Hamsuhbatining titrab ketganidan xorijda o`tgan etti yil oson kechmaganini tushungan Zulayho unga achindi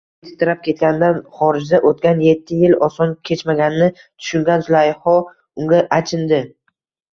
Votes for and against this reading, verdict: 1, 2, rejected